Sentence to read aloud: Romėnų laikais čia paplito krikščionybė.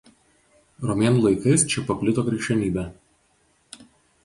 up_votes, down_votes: 4, 0